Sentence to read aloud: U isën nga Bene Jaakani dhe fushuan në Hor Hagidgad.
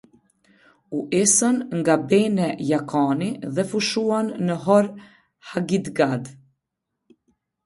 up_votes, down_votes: 1, 2